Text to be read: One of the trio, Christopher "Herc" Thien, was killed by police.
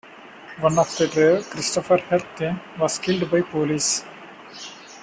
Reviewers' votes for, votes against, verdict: 2, 0, accepted